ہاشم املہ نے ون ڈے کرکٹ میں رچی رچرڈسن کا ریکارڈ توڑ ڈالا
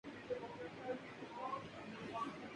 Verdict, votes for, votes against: rejected, 2, 4